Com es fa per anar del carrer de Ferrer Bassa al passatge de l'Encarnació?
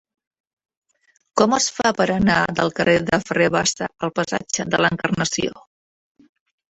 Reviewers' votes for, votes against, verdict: 1, 2, rejected